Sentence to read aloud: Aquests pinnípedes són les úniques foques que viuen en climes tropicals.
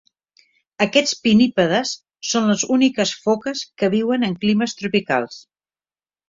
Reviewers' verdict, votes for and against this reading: accepted, 2, 0